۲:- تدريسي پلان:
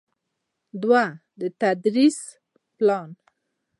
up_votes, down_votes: 0, 2